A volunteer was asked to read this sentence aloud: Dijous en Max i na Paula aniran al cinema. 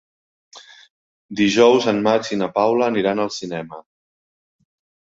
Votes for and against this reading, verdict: 3, 0, accepted